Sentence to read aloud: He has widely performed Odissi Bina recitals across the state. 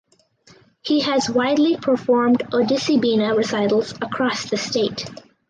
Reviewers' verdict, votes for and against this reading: accepted, 4, 0